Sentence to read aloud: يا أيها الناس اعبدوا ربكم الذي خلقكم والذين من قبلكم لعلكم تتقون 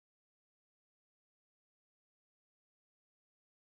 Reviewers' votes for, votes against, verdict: 0, 2, rejected